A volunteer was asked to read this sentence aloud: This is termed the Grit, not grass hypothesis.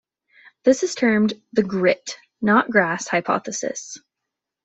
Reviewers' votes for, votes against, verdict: 2, 0, accepted